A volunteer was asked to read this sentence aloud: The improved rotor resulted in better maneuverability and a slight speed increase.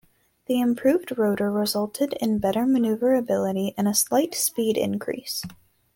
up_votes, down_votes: 2, 0